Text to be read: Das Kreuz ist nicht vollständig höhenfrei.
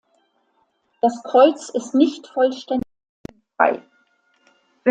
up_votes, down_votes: 0, 2